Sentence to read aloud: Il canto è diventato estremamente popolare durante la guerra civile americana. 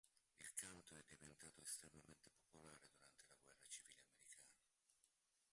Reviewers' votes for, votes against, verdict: 0, 2, rejected